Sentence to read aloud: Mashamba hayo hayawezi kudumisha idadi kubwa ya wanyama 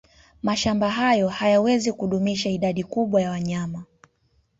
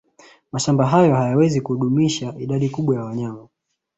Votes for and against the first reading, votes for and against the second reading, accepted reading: 2, 0, 1, 2, first